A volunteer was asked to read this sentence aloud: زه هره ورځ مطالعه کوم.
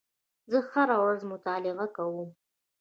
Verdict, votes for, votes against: rejected, 0, 2